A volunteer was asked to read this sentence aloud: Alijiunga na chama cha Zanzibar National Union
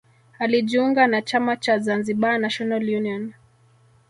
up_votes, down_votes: 0, 2